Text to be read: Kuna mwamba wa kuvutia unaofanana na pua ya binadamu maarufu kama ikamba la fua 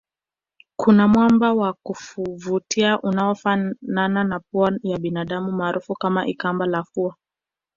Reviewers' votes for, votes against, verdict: 2, 0, accepted